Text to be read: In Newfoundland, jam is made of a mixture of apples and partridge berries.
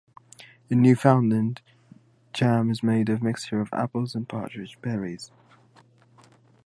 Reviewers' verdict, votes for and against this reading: rejected, 0, 2